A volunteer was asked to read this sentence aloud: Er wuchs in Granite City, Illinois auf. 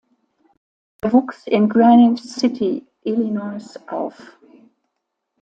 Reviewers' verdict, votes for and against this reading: accepted, 2, 1